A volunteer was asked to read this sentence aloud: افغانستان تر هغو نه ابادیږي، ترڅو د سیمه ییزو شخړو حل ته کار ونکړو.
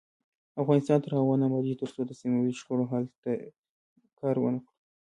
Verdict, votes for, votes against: rejected, 0, 2